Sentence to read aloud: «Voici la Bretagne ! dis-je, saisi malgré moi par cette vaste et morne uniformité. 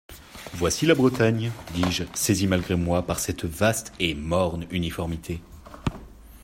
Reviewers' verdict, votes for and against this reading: accepted, 2, 0